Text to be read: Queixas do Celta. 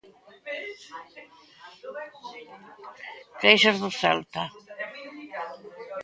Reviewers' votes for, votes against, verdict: 0, 2, rejected